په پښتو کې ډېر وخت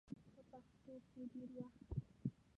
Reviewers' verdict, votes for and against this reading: rejected, 1, 2